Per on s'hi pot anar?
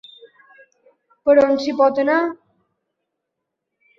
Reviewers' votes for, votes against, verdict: 3, 0, accepted